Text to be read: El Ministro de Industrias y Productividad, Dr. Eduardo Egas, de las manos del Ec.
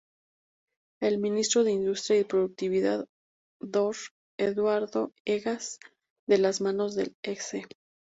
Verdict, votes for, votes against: rejected, 0, 2